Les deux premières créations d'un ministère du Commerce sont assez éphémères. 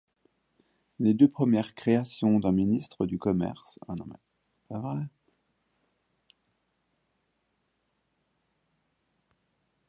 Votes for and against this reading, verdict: 0, 2, rejected